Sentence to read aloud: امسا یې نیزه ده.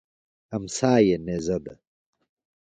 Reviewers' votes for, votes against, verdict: 2, 0, accepted